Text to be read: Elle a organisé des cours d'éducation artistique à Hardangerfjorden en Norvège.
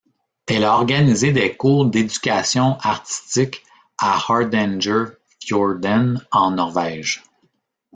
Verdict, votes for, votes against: rejected, 0, 2